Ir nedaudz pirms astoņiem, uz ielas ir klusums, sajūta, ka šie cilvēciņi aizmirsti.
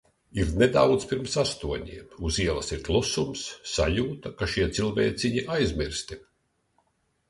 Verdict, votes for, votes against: accepted, 2, 0